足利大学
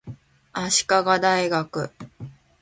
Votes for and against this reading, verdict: 3, 0, accepted